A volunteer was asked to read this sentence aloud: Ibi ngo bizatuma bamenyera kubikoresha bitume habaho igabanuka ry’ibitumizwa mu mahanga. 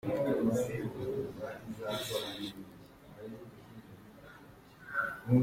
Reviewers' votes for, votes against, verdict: 0, 2, rejected